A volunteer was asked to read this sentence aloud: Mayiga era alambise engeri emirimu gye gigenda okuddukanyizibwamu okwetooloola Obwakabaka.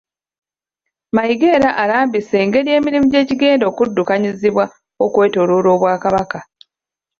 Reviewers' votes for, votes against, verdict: 1, 2, rejected